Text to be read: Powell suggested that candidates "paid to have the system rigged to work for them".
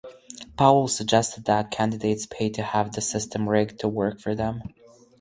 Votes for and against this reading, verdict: 4, 0, accepted